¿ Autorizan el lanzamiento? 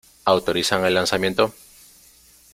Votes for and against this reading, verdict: 2, 0, accepted